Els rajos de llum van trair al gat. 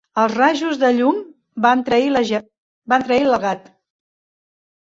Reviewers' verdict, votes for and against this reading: rejected, 0, 3